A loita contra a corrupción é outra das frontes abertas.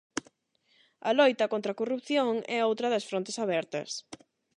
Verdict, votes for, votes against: accepted, 8, 0